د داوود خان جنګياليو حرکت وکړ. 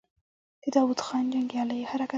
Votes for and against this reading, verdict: 1, 2, rejected